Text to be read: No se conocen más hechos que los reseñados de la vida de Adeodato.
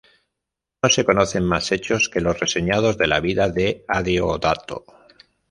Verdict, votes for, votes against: rejected, 0, 2